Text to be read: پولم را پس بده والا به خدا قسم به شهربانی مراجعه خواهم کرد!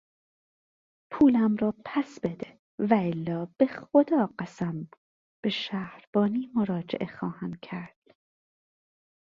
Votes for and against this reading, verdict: 2, 0, accepted